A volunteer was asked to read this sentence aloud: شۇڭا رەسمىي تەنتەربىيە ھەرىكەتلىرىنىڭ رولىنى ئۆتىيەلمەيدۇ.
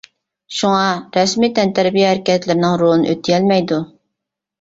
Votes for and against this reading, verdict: 3, 0, accepted